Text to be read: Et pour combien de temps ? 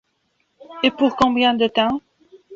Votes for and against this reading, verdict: 2, 1, accepted